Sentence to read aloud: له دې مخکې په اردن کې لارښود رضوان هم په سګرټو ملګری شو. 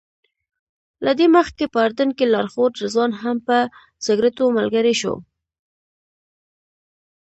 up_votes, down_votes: 2, 0